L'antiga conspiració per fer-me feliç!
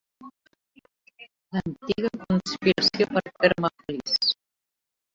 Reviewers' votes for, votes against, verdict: 0, 2, rejected